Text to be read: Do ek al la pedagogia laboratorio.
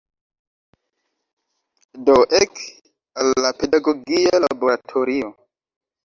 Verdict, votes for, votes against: accepted, 2, 1